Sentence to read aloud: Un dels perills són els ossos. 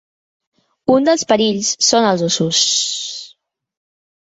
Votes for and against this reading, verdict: 3, 1, accepted